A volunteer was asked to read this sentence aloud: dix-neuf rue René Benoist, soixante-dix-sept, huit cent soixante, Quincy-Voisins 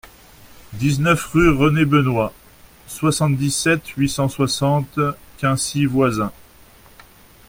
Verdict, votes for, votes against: accepted, 2, 0